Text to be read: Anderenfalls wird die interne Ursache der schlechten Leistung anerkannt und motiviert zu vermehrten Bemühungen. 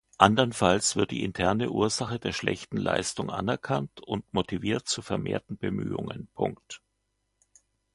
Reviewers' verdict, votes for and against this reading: rejected, 0, 2